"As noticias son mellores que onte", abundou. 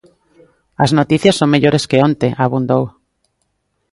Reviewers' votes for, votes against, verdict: 2, 0, accepted